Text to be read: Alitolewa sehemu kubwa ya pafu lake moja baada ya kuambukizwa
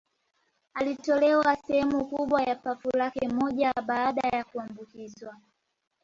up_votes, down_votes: 1, 2